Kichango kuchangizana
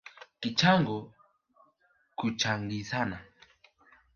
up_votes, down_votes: 4, 1